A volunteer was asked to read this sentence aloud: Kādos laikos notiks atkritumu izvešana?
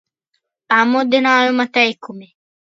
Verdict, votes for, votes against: rejected, 0, 2